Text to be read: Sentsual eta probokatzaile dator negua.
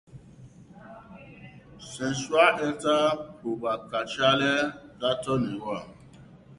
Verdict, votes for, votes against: rejected, 2, 2